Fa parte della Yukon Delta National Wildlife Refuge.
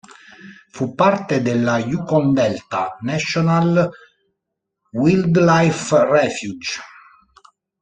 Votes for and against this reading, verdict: 0, 2, rejected